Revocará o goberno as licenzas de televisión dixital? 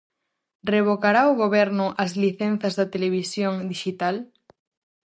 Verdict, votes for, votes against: rejected, 2, 2